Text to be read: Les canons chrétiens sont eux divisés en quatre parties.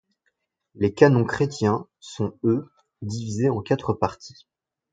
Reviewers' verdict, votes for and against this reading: accepted, 2, 0